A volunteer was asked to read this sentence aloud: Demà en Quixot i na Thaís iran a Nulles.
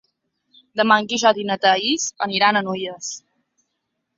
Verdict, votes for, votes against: rejected, 1, 2